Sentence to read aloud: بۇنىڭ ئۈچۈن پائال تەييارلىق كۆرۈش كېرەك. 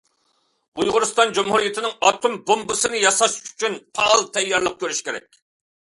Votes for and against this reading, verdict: 0, 2, rejected